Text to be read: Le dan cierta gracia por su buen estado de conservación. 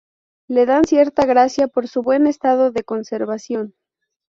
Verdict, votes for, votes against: accepted, 4, 0